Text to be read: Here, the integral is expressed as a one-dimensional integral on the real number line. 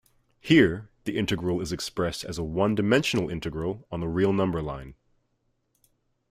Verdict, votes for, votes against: accepted, 2, 0